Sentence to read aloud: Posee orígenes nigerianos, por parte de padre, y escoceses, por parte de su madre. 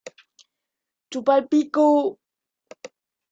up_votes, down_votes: 0, 2